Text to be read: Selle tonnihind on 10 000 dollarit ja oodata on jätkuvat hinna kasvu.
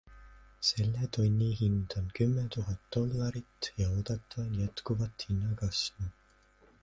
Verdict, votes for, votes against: rejected, 0, 2